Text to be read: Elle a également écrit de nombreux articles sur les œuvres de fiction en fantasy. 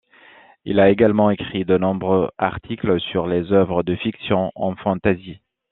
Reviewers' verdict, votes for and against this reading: accepted, 2, 1